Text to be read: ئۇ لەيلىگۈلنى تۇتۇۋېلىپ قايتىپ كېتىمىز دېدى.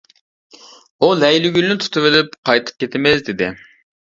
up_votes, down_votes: 2, 0